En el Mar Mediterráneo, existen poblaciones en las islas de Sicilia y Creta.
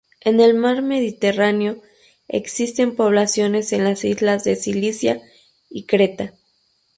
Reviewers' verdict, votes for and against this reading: rejected, 0, 2